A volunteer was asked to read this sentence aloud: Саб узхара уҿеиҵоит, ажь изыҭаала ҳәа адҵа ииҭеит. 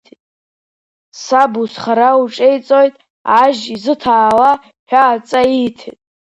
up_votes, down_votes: 2, 1